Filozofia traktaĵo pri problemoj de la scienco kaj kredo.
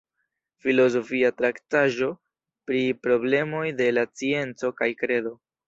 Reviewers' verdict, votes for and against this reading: accepted, 2, 0